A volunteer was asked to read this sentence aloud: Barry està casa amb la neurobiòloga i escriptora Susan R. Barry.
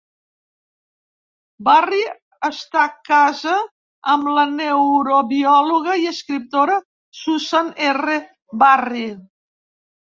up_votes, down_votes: 2, 0